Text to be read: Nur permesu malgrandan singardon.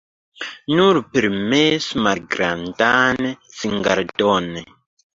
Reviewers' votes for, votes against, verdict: 0, 2, rejected